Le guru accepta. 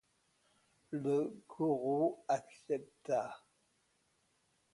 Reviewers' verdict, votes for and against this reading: accepted, 2, 0